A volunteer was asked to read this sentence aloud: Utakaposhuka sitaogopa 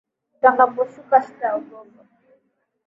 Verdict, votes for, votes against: accepted, 9, 3